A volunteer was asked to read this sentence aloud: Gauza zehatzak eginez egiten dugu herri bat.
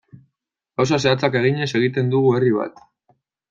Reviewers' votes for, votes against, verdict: 2, 0, accepted